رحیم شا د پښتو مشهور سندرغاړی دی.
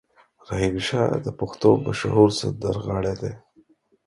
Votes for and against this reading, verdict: 4, 0, accepted